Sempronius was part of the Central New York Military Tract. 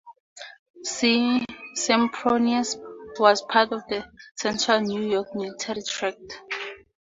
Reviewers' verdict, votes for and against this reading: rejected, 0, 2